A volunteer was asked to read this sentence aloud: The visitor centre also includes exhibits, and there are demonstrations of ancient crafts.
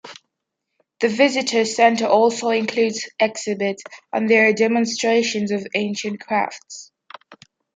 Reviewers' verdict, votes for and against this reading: accepted, 2, 0